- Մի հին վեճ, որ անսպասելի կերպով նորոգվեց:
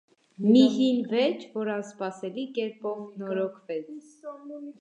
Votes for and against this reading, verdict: 0, 2, rejected